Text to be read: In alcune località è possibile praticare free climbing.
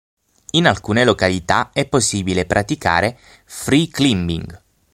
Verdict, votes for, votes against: rejected, 0, 6